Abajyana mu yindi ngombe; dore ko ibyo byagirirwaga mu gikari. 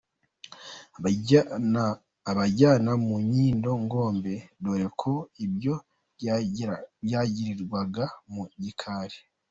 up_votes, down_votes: 0, 2